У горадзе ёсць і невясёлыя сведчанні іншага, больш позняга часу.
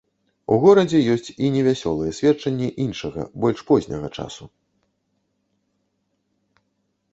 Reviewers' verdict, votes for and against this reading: accepted, 2, 0